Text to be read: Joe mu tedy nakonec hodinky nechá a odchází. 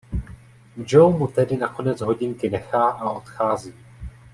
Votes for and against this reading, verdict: 2, 0, accepted